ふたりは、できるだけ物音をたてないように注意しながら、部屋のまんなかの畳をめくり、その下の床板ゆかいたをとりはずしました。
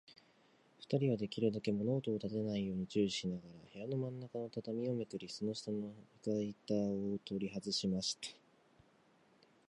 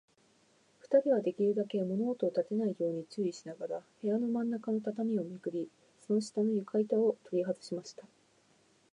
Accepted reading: second